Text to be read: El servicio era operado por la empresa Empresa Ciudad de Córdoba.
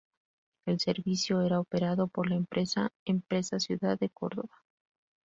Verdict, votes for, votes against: accepted, 2, 0